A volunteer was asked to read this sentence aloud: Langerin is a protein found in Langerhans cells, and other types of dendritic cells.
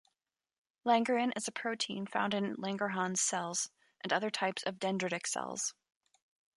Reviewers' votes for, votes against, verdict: 2, 1, accepted